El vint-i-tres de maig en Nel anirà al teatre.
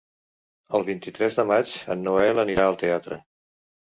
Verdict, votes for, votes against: rejected, 0, 2